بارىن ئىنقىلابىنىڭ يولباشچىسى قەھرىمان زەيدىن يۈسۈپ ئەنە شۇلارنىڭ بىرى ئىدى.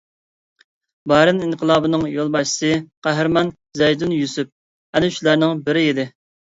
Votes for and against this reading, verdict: 2, 0, accepted